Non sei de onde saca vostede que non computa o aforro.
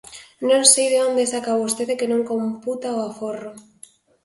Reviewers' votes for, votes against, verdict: 3, 0, accepted